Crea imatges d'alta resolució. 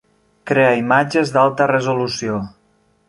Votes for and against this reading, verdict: 3, 0, accepted